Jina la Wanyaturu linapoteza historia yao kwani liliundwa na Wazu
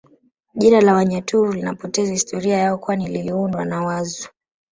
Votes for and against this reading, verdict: 2, 1, accepted